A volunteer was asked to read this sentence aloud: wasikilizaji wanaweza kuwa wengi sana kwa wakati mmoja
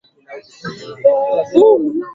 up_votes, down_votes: 0, 2